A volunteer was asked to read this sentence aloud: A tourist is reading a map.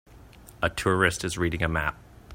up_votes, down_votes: 2, 0